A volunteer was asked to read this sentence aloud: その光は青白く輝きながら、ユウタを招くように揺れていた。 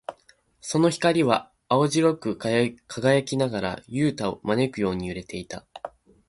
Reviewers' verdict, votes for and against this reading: rejected, 0, 2